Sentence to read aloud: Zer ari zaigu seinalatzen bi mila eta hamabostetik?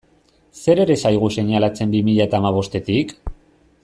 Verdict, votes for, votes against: rejected, 0, 2